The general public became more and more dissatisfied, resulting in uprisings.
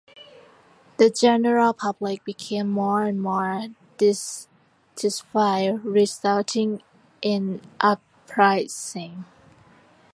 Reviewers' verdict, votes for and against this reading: accepted, 2, 1